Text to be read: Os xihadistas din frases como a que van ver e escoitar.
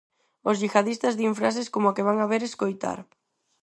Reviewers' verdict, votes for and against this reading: rejected, 2, 4